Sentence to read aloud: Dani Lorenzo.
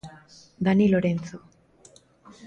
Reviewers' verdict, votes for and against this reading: accepted, 2, 0